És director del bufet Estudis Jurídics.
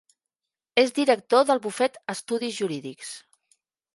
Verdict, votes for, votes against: accepted, 2, 0